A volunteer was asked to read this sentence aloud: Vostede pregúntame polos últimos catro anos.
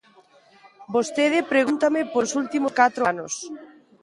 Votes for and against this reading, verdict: 0, 2, rejected